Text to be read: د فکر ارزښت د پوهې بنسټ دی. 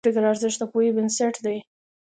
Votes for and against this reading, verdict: 1, 2, rejected